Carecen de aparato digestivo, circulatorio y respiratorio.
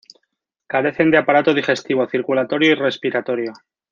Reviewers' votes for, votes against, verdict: 2, 0, accepted